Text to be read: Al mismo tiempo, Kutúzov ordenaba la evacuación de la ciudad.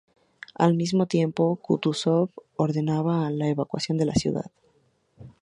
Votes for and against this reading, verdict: 0, 2, rejected